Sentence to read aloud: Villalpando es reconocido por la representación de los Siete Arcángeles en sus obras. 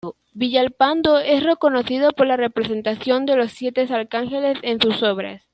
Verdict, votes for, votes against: accepted, 2, 0